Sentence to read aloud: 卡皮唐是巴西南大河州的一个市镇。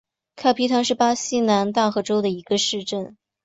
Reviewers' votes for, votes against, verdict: 3, 0, accepted